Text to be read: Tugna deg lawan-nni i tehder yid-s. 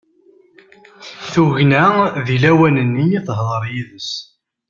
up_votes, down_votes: 2, 0